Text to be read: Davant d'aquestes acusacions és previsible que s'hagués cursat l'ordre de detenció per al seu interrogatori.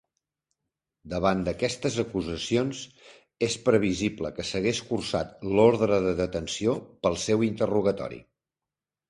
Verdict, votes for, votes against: accepted, 2, 0